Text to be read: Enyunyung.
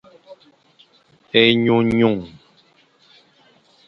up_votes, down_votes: 1, 2